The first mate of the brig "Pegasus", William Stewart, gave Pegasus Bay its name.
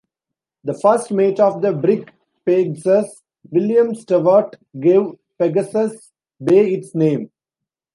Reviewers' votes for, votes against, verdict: 0, 2, rejected